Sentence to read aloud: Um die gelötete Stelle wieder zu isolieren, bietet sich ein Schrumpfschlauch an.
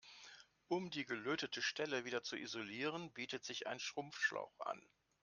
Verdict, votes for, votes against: accepted, 2, 0